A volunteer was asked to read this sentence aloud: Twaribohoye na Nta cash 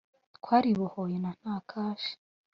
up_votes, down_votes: 2, 0